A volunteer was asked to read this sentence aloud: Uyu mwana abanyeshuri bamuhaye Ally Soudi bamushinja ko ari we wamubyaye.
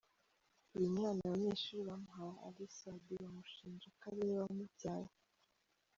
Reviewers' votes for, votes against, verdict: 0, 3, rejected